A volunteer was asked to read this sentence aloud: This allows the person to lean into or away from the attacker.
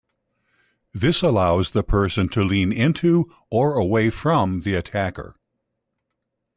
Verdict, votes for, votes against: accepted, 2, 0